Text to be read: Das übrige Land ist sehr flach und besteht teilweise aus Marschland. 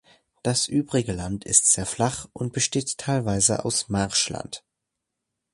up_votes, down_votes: 2, 0